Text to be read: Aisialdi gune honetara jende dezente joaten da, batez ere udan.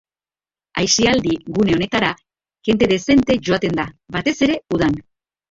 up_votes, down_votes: 2, 0